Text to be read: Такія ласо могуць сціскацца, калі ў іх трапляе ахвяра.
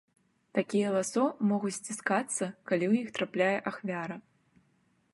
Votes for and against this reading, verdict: 2, 0, accepted